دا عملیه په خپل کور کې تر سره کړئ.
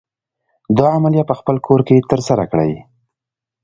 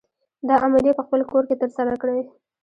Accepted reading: first